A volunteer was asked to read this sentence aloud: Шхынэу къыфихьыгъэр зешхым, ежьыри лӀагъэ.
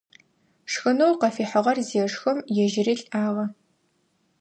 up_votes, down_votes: 2, 0